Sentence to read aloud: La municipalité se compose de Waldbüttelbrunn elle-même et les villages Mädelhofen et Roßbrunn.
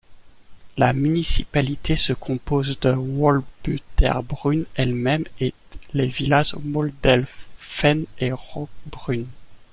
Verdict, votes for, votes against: rejected, 1, 2